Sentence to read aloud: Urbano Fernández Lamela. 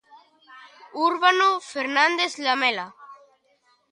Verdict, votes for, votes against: rejected, 0, 2